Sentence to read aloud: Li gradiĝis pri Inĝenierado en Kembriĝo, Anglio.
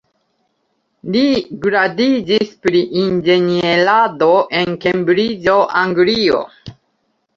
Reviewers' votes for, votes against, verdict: 1, 2, rejected